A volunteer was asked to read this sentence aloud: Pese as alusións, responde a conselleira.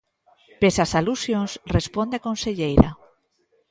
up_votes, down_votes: 1, 2